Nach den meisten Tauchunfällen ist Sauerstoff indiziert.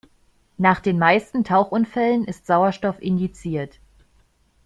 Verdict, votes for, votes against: accepted, 2, 0